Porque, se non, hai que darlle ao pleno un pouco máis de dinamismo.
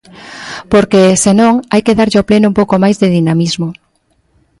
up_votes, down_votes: 1, 2